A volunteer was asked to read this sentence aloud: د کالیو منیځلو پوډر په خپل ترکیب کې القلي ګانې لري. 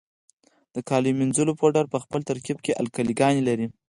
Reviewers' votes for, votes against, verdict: 4, 2, accepted